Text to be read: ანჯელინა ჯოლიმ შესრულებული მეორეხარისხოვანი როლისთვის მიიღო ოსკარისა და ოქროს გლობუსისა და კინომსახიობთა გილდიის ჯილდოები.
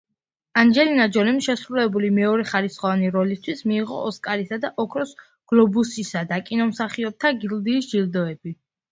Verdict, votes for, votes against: accepted, 2, 0